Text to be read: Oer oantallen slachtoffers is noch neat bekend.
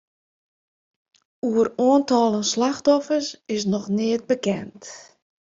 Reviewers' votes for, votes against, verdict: 2, 0, accepted